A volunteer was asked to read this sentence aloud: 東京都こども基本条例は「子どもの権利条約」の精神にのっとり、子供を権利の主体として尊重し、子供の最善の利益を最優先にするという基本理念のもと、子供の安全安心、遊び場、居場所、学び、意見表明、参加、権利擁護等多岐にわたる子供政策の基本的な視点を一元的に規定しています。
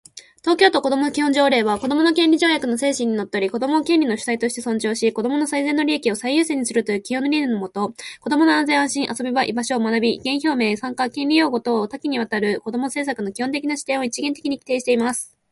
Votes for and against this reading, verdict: 2, 0, accepted